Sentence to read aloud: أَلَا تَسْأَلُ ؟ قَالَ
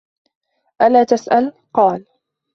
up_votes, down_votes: 2, 0